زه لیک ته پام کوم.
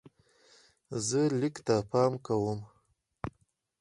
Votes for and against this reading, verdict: 2, 2, rejected